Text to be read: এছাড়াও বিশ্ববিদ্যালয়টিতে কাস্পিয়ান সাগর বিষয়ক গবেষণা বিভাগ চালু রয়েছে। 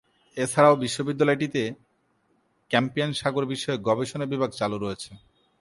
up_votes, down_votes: 1, 4